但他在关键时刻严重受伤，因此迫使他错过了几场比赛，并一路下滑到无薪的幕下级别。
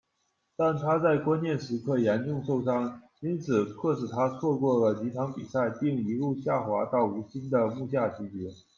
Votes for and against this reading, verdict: 2, 0, accepted